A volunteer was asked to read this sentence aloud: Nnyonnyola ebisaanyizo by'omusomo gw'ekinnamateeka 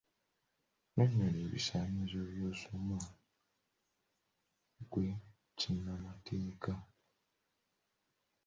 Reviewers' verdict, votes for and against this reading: rejected, 1, 2